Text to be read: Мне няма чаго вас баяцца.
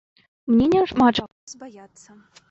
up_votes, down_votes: 1, 2